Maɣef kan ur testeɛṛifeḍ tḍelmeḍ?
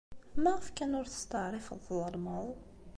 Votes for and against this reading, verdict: 2, 1, accepted